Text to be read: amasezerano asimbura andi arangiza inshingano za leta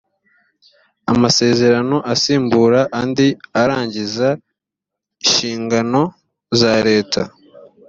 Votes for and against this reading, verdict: 2, 0, accepted